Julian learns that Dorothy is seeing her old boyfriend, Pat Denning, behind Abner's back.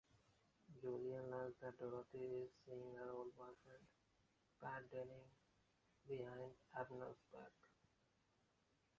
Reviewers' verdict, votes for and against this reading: rejected, 0, 2